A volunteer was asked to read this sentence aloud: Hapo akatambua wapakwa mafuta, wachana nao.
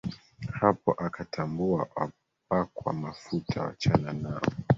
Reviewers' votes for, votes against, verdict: 2, 1, accepted